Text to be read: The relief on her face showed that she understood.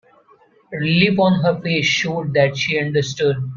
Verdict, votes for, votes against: rejected, 1, 2